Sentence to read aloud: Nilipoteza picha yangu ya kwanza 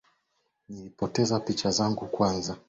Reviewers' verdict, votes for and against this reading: accepted, 2, 0